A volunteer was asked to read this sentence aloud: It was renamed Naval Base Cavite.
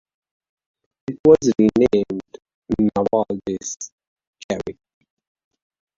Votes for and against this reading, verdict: 1, 2, rejected